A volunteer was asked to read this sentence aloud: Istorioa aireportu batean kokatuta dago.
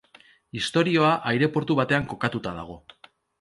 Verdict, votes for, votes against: accepted, 2, 0